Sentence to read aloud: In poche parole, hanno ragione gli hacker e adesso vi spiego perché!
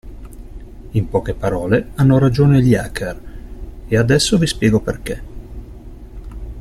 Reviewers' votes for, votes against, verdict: 2, 0, accepted